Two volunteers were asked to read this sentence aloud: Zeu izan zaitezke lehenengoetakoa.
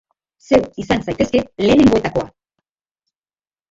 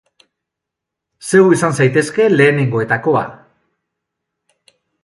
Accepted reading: second